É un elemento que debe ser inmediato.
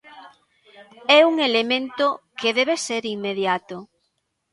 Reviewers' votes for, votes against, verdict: 2, 1, accepted